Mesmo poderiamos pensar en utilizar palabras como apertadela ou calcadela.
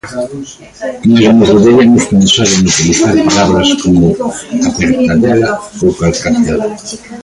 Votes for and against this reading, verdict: 0, 3, rejected